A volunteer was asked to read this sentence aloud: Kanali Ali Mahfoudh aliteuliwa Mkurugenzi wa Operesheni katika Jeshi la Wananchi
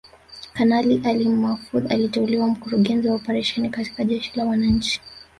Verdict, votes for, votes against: accepted, 3, 0